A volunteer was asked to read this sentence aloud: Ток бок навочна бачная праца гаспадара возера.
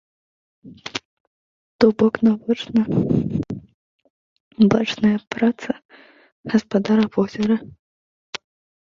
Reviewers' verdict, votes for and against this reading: rejected, 1, 2